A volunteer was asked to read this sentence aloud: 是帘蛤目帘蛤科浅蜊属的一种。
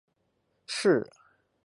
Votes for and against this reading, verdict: 0, 4, rejected